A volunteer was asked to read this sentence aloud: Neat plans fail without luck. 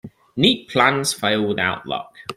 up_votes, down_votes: 2, 0